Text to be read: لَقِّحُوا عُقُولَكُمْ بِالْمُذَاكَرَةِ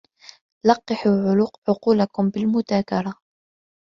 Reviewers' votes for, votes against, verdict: 1, 2, rejected